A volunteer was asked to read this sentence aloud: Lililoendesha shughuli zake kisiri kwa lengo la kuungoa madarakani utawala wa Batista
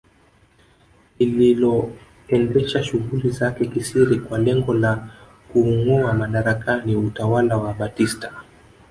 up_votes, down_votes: 2, 3